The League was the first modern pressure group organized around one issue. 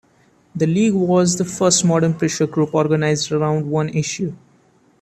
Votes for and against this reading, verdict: 2, 0, accepted